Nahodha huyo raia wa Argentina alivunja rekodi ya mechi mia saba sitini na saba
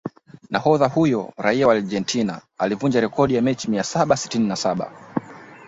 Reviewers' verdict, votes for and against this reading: accepted, 2, 1